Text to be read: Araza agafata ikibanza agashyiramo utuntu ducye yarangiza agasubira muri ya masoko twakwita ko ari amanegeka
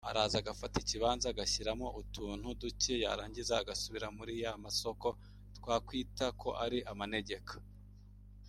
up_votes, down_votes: 2, 1